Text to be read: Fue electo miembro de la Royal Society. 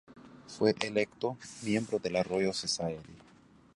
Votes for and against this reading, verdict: 0, 2, rejected